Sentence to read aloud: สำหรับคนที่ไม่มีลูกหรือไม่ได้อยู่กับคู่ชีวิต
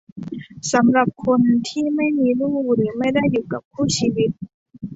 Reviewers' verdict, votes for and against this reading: accepted, 2, 0